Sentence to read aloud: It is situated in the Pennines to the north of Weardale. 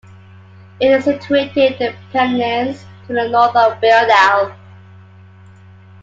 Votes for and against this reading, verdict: 0, 2, rejected